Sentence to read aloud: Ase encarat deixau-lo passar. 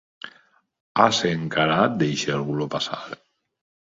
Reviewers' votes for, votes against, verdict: 2, 0, accepted